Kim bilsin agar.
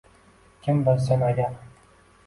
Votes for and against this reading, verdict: 2, 1, accepted